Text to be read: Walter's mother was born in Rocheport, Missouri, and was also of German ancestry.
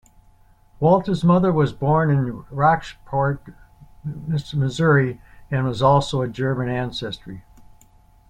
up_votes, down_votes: 0, 2